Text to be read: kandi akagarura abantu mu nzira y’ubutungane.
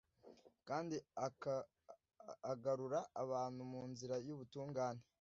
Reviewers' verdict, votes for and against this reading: rejected, 0, 2